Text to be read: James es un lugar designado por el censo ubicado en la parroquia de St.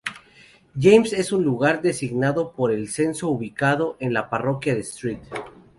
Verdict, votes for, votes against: rejected, 0, 2